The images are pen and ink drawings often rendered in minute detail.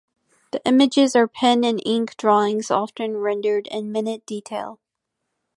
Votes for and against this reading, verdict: 1, 2, rejected